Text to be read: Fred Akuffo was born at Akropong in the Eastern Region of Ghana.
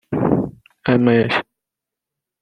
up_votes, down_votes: 0, 2